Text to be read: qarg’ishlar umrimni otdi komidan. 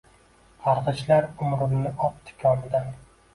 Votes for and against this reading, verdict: 1, 2, rejected